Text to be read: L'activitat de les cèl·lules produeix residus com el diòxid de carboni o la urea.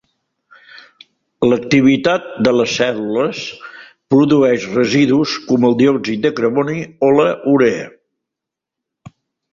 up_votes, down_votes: 1, 2